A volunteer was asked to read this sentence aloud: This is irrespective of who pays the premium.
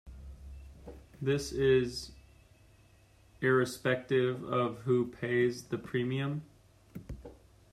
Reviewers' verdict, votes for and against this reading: accepted, 2, 0